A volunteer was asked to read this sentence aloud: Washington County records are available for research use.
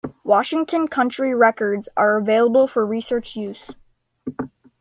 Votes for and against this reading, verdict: 0, 2, rejected